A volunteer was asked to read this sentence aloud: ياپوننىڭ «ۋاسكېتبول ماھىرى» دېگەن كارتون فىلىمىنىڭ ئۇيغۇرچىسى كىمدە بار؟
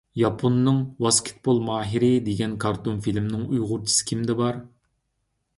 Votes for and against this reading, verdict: 2, 0, accepted